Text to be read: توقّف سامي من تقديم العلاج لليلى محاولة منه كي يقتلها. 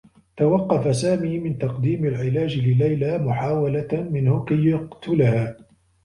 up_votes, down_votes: 2, 0